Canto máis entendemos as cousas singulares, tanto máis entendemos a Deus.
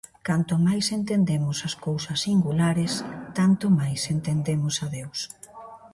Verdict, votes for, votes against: rejected, 0, 2